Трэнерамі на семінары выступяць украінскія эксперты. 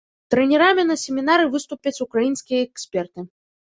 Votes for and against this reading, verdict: 1, 2, rejected